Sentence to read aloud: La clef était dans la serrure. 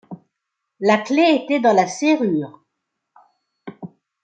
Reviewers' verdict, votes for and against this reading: accepted, 2, 0